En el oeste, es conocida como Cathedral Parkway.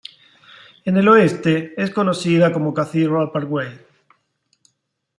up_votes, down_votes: 2, 1